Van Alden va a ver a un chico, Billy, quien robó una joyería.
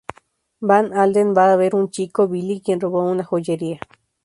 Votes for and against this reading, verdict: 0, 2, rejected